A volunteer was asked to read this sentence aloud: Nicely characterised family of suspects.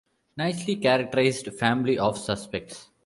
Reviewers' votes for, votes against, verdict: 2, 1, accepted